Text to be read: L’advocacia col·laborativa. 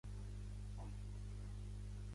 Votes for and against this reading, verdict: 0, 2, rejected